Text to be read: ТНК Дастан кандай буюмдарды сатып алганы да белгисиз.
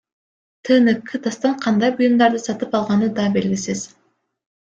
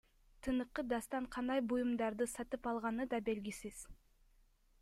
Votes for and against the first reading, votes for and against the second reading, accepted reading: 2, 0, 1, 2, first